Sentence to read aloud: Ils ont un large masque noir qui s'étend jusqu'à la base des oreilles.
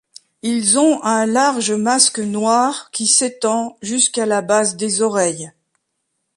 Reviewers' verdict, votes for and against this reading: accepted, 2, 0